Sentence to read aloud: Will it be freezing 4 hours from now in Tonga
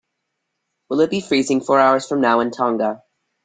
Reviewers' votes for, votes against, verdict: 0, 2, rejected